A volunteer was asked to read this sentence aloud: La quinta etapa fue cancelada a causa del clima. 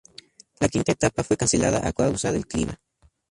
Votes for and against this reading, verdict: 2, 0, accepted